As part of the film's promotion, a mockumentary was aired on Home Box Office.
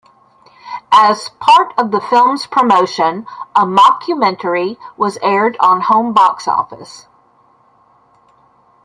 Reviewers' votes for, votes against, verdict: 2, 0, accepted